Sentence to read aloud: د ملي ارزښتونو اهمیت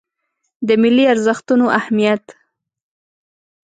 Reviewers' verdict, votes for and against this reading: accepted, 2, 0